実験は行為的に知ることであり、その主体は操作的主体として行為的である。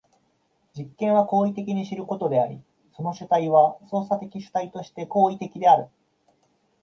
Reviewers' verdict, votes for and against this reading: accepted, 2, 0